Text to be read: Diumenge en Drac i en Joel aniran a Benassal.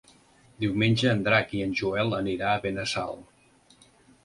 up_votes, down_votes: 0, 2